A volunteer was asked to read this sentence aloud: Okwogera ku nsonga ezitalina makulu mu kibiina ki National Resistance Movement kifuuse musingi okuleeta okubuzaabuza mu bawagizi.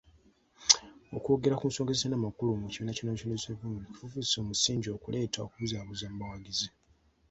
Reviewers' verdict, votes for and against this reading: accepted, 2, 1